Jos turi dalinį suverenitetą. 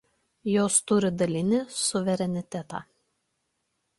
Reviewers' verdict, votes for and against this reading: accepted, 2, 0